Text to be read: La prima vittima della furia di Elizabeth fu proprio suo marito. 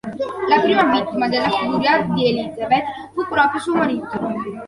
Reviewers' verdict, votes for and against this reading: accepted, 2, 1